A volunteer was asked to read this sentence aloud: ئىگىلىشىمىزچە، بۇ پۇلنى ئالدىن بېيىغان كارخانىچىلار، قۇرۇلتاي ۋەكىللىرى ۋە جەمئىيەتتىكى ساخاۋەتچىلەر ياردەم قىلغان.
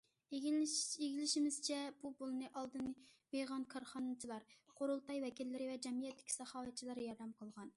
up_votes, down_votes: 0, 2